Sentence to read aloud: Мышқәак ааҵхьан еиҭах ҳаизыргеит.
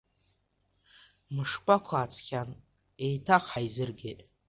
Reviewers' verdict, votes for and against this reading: rejected, 1, 2